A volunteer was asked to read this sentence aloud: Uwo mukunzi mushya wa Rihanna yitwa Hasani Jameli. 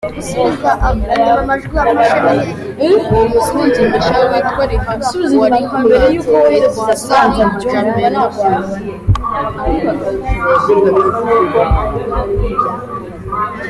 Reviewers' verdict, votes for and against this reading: rejected, 0, 3